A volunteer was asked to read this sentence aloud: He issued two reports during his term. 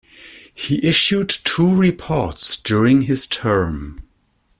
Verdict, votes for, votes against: rejected, 0, 2